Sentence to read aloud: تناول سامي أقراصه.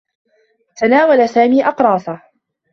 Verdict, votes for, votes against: rejected, 0, 2